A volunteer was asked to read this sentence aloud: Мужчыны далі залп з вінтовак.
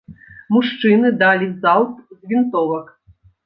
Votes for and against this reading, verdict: 2, 0, accepted